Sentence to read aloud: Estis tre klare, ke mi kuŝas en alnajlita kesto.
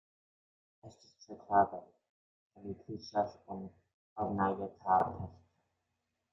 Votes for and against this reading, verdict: 0, 2, rejected